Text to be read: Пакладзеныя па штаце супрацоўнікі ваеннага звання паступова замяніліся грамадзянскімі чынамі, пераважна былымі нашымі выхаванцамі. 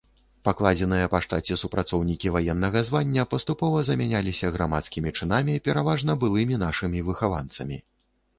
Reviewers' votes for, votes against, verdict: 1, 2, rejected